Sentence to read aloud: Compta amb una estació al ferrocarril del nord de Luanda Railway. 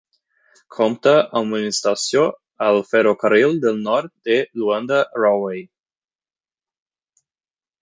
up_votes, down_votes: 6, 12